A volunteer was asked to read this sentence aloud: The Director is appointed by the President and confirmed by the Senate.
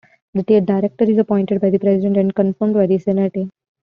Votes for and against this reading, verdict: 1, 2, rejected